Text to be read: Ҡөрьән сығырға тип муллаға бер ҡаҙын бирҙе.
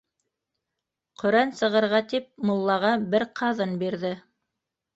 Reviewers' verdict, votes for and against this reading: accepted, 2, 0